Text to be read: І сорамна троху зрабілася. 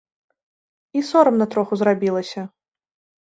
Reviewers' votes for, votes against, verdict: 2, 0, accepted